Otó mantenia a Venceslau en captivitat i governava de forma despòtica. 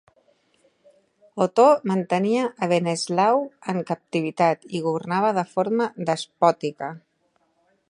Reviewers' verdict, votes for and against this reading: rejected, 0, 2